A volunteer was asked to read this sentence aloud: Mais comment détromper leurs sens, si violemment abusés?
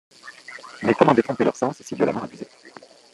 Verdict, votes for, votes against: rejected, 1, 2